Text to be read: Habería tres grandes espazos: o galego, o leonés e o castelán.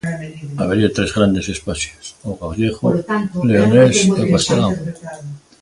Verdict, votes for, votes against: rejected, 0, 2